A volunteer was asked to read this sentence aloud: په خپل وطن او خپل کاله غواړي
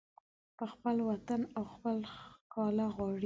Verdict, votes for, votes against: rejected, 0, 2